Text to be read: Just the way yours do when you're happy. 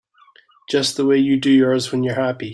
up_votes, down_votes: 0, 2